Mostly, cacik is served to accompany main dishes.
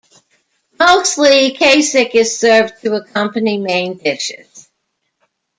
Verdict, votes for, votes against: rejected, 1, 2